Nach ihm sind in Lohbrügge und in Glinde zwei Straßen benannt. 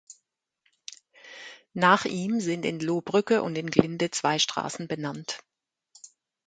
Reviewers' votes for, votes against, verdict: 2, 0, accepted